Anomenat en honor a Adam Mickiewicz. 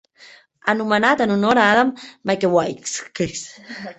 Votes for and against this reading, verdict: 1, 2, rejected